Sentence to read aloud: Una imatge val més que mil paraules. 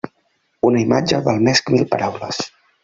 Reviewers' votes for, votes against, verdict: 2, 1, accepted